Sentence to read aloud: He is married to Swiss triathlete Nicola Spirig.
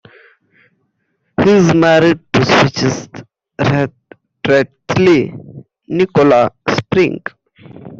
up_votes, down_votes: 0, 2